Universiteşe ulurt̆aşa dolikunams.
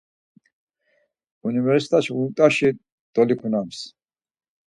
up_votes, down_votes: 2, 4